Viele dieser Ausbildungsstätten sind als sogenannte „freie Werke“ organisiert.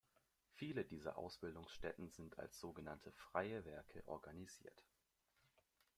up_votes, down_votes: 1, 2